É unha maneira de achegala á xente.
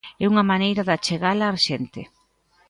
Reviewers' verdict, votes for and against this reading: rejected, 1, 2